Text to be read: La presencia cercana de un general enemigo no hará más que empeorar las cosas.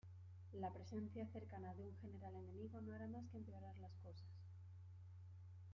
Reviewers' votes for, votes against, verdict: 0, 2, rejected